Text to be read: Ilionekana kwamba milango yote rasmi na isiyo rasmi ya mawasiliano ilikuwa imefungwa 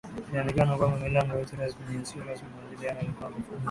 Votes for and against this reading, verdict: 3, 8, rejected